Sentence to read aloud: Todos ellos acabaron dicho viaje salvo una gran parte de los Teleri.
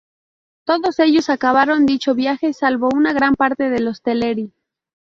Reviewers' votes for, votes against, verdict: 0, 2, rejected